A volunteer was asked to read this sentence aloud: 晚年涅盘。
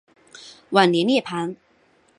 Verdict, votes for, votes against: accepted, 6, 0